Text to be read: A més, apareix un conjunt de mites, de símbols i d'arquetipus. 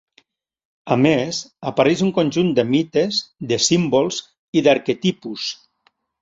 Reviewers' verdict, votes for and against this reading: accepted, 3, 1